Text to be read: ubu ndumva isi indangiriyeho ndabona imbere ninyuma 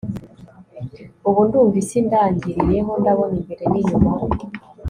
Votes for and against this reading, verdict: 3, 0, accepted